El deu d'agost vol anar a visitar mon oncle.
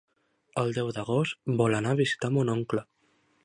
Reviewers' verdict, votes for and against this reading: accepted, 3, 0